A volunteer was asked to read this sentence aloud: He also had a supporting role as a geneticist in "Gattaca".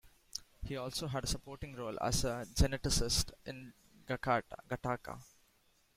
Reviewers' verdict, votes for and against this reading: rejected, 0, 3